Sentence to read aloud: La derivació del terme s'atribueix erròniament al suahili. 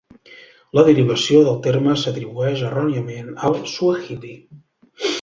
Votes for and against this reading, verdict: 1, 2, rejected